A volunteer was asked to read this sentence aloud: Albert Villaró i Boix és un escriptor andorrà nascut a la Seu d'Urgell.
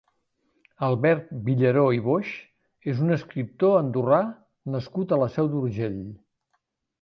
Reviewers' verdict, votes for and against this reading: accepted, 4, 0